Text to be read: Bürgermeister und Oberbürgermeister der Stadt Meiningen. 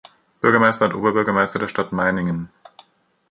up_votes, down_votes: 2, 0